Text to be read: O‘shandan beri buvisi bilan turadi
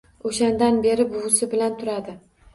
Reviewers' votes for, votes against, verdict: 2, 0, accepted